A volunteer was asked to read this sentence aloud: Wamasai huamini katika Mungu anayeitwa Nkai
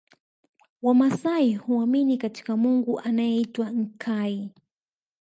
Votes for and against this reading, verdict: 0, 2, rejected